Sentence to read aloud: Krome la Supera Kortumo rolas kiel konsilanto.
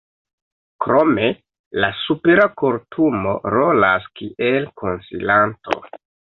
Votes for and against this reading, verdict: 2, 0, accepted